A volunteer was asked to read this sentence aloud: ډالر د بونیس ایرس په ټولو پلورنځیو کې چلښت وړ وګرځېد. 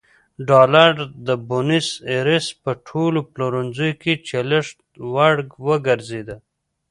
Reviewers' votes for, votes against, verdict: 2, 0, accepted